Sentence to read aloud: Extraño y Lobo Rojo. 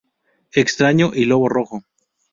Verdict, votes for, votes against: accepted, 2, 0